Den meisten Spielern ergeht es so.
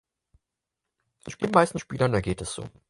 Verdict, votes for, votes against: rejected, 0, 4